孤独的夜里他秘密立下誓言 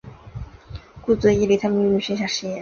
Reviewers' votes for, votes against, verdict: 0, 2, rejected